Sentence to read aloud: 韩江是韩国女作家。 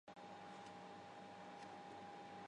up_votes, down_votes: 0, 2